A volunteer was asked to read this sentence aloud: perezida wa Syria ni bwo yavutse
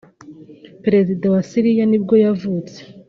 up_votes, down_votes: 3, 0